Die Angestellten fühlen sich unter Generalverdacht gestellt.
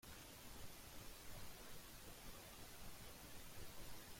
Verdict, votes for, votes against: rejected, 0, 2